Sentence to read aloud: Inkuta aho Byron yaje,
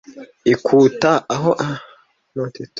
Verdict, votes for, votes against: rejected, 0, 2